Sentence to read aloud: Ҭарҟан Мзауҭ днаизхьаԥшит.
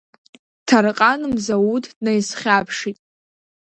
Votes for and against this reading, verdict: 2, 0, accepted